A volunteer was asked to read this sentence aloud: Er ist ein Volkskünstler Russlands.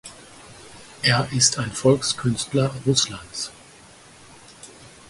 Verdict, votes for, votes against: accepted, 4, 0